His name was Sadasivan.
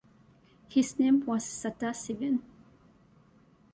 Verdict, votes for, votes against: rejected, 0, 2